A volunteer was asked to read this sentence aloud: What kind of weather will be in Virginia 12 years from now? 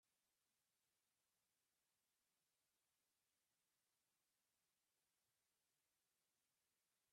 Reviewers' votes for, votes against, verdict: 0, 2, rejected